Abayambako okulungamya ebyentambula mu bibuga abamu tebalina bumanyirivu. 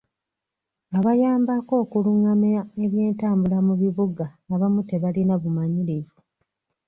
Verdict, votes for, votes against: accepted, 2, 0